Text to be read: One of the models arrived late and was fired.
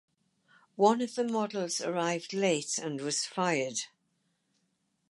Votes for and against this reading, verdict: 4, 2, accepted